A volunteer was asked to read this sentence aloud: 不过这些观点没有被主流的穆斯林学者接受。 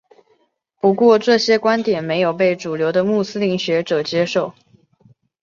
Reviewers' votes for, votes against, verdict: 2, 0, accepted